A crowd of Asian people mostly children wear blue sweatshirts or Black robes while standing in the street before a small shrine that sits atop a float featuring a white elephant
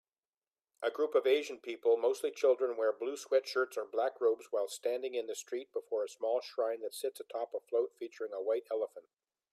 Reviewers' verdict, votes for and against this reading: rejected, 1, 2